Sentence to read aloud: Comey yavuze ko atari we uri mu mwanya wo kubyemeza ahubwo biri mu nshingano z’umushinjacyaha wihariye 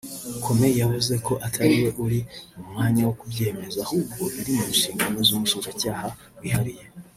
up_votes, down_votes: 1, 2